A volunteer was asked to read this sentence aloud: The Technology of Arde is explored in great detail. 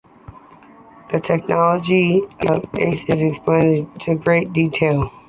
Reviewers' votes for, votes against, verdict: 2, 0, accepted